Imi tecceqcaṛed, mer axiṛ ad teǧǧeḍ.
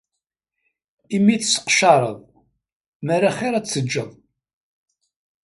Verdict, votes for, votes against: accepted, 2, 0